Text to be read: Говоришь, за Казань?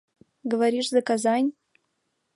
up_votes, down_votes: 2, 0